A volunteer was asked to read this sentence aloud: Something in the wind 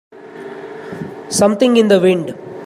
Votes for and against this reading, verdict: 2, 0, accepted